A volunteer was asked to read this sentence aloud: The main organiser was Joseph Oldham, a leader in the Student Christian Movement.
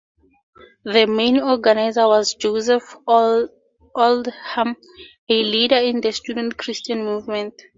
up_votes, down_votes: 2, 0